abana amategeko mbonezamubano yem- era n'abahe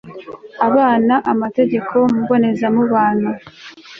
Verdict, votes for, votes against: rejected, 0, 2